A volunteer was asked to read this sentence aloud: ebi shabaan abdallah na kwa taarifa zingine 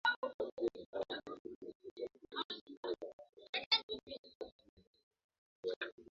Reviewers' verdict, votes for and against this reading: rejected, 0, 2